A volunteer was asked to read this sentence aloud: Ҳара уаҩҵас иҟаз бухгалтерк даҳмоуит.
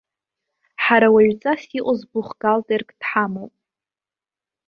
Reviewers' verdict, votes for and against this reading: rejected, 0, 2